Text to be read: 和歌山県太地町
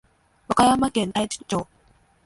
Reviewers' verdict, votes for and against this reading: accepted, 2, 1